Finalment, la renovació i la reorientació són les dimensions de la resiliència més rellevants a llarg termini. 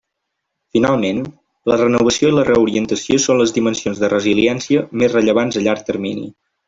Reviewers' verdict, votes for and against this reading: rejected, 0, 2